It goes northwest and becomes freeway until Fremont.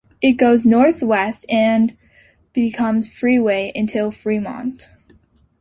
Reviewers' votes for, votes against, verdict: 2, 0, accepted